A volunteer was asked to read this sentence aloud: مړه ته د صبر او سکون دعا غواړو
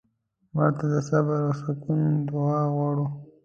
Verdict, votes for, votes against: rejected, 1, 2